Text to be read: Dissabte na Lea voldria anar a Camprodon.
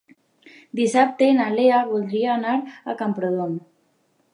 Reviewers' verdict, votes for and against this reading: accepted, 2, 0